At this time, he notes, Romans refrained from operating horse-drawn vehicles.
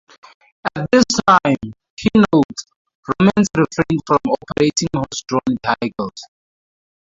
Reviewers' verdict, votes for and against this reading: rejected, 0, 2